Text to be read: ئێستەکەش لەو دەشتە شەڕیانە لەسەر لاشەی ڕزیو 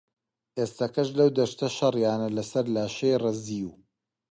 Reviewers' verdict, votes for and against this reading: accepted, 2, 0